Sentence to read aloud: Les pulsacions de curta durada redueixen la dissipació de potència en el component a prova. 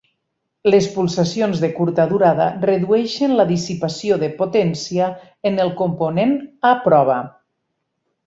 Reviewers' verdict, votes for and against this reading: accepted, 6, 0